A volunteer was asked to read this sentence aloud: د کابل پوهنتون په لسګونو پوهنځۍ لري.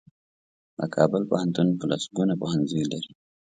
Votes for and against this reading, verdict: 2, 0, accepted